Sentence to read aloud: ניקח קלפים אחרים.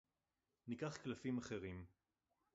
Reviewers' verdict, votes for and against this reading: rejected, 0, 2